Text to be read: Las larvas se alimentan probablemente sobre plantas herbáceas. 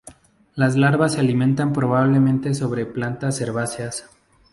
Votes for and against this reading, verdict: 2, 0, accepted